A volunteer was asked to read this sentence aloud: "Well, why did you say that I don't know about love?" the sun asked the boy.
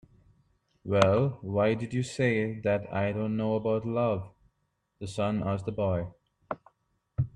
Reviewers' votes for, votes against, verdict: 2, 0, accepted